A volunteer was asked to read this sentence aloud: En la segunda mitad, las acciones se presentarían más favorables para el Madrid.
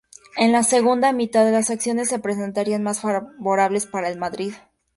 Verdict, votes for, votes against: rejected, 0, 2